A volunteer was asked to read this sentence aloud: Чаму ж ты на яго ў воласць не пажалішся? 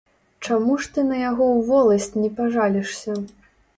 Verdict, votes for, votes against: accepted, 2, 1